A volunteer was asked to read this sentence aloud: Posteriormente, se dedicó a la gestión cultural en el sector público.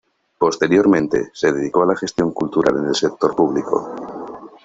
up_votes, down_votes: 2, 0